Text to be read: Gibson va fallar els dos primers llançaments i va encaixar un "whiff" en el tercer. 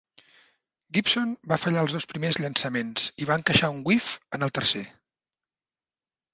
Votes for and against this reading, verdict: 2, 0, accepted